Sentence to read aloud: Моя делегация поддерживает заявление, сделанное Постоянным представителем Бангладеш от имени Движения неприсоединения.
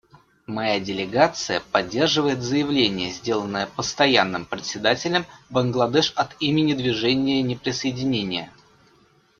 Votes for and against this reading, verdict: 0, 2, rejected